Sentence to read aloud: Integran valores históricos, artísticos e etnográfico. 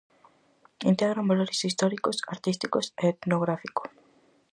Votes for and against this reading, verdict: 4, 0, accepted